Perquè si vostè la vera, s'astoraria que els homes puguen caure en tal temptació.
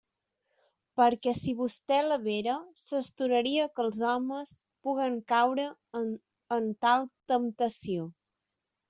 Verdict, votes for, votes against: rejected, 0, 2